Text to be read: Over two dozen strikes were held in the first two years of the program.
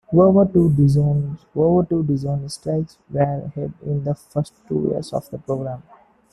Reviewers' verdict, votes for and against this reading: rejected, 0, 2